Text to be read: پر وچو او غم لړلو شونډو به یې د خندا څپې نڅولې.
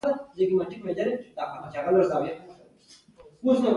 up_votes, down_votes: 2, 1